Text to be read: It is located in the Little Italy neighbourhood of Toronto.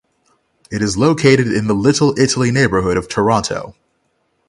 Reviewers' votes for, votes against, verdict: 6, 0, accepted